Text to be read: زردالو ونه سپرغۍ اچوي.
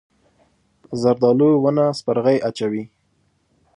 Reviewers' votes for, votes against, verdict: 5, 1, accepted